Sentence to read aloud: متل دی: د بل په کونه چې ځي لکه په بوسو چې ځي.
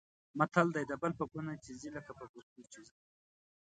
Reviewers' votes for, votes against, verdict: 1, 2, rejected